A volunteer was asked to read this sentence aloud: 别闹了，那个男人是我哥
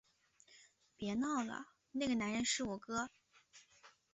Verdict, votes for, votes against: accepted, 3, 0